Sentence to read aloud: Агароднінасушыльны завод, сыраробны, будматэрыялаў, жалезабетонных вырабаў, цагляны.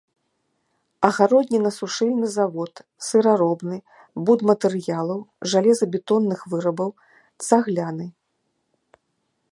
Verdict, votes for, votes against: accepted, 2, 0